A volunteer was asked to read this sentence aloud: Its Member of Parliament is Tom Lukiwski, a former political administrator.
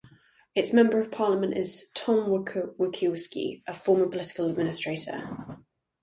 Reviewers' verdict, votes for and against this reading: rejected, 0, 2